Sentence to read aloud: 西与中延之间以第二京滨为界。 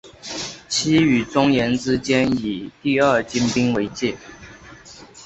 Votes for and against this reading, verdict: 3, 0, accepted